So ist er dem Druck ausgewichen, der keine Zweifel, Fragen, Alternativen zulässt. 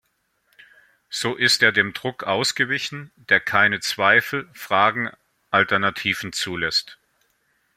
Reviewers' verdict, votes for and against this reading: accepted, 2, 0